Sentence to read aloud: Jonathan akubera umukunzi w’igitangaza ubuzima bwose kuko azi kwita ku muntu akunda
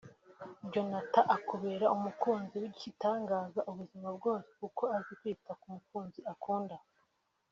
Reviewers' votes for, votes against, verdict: 1, 2, rejected